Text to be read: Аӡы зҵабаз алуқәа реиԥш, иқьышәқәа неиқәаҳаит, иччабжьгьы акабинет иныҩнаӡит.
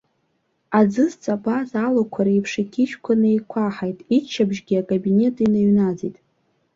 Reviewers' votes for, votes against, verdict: 3, 0, accepted